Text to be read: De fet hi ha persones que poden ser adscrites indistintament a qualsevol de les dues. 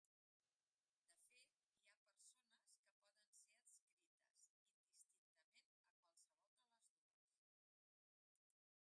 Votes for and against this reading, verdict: 0, 2, rejected